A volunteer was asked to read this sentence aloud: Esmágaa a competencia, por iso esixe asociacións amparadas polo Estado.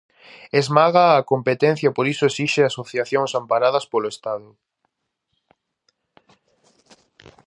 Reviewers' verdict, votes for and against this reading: accepted, 2, 0